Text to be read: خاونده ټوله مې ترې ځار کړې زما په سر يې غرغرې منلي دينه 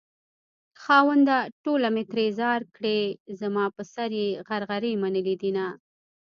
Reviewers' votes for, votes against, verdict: 1, 2, rejected